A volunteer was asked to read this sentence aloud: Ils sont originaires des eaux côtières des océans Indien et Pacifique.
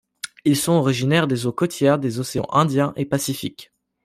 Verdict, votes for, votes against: accepted, 2, 0